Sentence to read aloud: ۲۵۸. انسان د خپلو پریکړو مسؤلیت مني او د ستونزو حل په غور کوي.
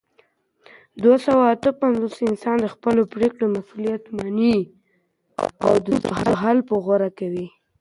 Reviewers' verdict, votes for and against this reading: rejected, 0, 2